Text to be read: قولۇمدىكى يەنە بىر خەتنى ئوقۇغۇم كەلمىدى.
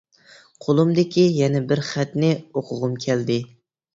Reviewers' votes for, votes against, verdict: 0, 2, rejected